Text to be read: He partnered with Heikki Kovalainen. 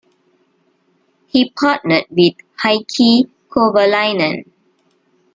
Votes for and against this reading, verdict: 2, 1, accepted